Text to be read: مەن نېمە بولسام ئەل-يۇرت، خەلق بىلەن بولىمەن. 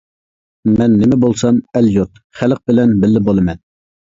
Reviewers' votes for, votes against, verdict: 1, 2, rejected